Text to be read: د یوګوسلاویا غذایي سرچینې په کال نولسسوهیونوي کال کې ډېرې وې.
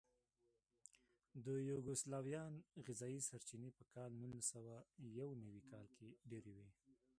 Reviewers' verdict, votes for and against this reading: rejected, 0, 2